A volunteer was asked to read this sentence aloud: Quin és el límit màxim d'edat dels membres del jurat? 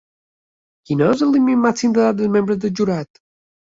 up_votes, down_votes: 2, 1